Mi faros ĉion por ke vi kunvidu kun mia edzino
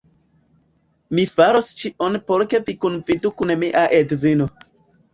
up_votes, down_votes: 1, 2